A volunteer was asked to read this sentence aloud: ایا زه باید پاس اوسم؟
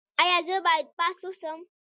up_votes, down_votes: 0, 2